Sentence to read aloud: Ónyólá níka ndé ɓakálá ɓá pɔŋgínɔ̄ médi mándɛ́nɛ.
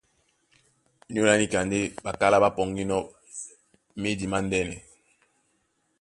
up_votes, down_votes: 2, 0